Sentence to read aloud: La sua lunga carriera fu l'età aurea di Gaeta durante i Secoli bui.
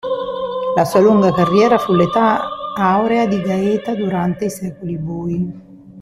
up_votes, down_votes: 0, 2